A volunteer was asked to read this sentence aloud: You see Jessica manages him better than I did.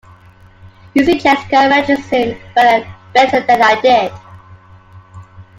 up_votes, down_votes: 0, 2